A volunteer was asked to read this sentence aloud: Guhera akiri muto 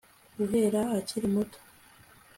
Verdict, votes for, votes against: accepted, 2, 0